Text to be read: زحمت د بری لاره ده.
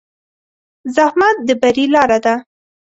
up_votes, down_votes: 2, 1